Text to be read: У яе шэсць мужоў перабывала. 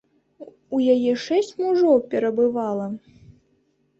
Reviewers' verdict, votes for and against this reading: accepted, 2, 0